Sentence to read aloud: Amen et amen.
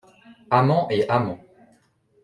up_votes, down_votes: 0, 2